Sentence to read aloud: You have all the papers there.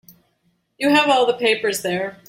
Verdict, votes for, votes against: accepted, 2, 0